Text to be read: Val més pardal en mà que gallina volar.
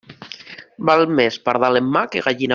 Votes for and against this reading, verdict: 0, 2, rejected